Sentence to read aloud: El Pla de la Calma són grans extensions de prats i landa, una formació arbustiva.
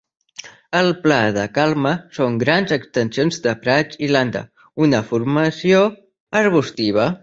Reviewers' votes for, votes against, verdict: 0, 2, rejected